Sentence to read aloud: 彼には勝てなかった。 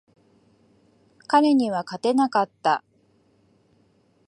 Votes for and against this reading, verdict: 4, 0, accepted